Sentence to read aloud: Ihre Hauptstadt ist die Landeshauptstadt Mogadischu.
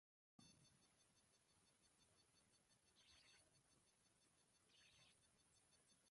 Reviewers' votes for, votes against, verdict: 0, 2, rejected